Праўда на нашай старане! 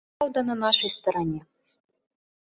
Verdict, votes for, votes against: rejected, 0, 2